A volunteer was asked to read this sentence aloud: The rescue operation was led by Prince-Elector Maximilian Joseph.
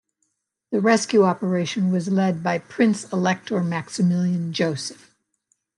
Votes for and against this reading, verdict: 3, 0, accepted